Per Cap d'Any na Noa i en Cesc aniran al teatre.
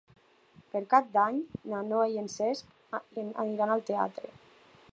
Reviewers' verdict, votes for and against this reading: rejected, 0, 2